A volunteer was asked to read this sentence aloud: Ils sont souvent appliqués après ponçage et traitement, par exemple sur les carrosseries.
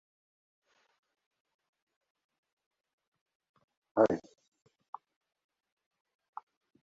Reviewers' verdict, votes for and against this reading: rejected, 0, 2